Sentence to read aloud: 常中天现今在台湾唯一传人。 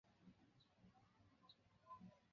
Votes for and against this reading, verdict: 0, 2, rejected